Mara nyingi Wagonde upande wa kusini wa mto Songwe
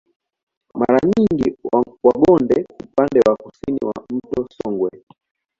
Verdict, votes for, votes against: accepted, 2, 0